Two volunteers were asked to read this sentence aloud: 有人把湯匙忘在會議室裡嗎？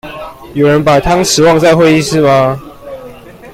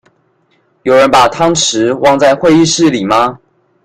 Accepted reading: second